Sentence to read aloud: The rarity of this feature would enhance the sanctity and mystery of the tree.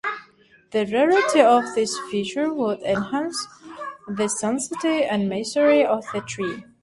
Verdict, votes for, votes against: accepted, 2, 1